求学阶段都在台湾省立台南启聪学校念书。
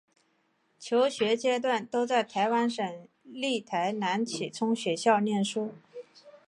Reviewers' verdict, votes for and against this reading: accepted, 2, 0